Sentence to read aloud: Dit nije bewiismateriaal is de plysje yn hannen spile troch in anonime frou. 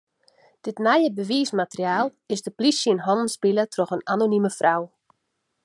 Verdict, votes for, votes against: accepted, 2, 0